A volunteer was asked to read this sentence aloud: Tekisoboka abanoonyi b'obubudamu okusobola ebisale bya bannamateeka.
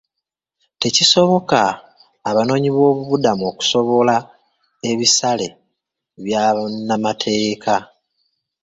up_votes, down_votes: 0, 2